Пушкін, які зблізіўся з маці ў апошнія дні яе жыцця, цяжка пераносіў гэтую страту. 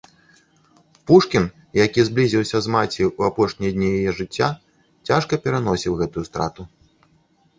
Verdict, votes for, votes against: accepted, 3, 0